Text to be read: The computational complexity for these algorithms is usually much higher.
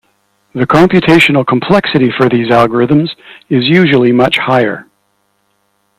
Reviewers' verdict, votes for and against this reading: accepted, 2, 0